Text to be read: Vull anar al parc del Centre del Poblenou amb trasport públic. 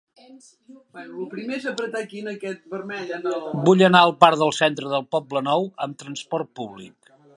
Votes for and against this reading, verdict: 1, 2, rejected